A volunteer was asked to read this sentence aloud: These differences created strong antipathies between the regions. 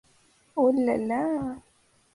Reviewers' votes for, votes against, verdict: 0, 2, rejected